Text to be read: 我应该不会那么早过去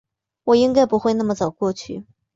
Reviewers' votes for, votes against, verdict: 2, 0, accepted